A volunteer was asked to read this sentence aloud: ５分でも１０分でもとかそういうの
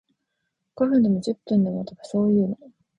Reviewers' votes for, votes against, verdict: 0, 2, rejected